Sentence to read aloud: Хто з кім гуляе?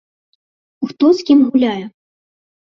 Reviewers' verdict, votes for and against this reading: accepted, 2, 0